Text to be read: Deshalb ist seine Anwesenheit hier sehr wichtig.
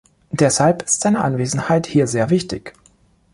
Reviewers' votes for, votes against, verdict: 2, 0, accepted